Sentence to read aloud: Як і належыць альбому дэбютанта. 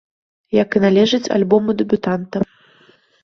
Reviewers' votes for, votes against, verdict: 2, 1, accepted